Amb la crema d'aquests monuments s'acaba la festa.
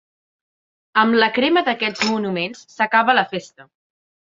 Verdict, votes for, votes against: accepted, 3, 0